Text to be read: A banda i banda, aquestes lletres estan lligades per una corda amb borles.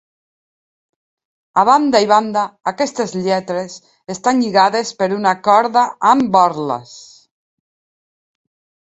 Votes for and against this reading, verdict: 2, 0, accepted